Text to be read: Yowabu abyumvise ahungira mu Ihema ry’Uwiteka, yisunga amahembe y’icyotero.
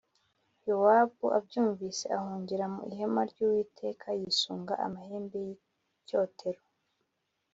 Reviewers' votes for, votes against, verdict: 5, 0, accepted